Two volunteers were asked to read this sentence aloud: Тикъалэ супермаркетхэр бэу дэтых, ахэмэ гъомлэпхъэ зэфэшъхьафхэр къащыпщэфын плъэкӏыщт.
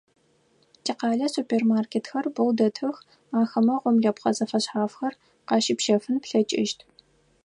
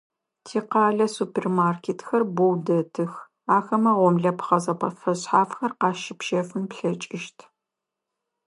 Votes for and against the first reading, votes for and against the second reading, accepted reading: 4, 0, 1, 2, first